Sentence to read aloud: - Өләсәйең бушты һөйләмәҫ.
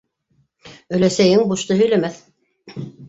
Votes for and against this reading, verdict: 2, 0, accepted